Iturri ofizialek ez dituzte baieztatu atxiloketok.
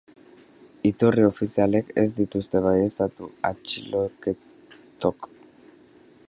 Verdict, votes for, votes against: rejected, 0, 2